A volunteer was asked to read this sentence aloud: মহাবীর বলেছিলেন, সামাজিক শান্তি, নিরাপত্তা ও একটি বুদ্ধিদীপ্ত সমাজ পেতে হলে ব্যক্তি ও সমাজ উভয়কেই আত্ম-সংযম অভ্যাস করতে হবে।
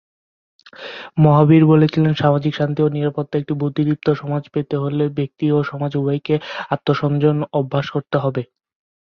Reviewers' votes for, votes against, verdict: 0, 2, rejected